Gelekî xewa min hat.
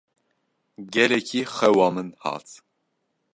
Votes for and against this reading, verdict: 2, 0, accepted